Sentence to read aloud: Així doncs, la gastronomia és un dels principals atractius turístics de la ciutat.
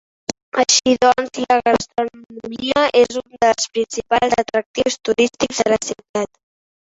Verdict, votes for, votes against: rejected, 0, 4